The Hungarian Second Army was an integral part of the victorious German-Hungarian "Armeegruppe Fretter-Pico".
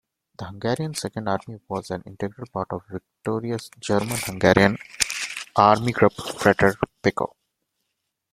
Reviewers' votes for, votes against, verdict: 0, 2, rejected